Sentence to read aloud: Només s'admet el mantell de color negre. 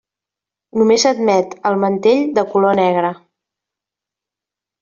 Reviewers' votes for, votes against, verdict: 2, 0, accepted